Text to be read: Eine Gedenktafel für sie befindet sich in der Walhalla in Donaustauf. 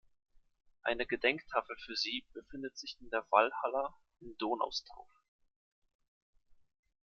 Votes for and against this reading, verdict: 2, 0, accepted